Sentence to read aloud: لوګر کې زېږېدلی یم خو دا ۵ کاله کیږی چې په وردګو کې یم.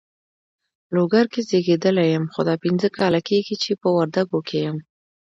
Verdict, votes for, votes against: rejected, 0, 2